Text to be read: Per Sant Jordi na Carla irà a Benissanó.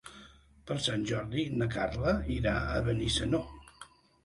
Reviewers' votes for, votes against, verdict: 3, 0, accepted